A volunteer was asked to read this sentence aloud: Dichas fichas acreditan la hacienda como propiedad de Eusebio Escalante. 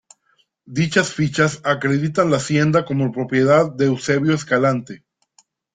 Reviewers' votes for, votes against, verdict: 2, 0, accepted